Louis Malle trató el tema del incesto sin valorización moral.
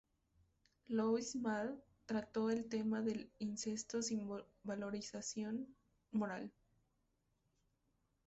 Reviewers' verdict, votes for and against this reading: rejected, 0, 2